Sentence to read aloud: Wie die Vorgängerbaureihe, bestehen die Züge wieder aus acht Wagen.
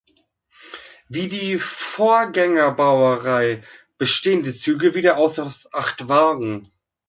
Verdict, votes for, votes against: rejected, 0, 2